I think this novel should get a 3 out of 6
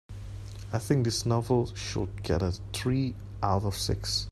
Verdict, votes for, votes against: rejected, 0, 2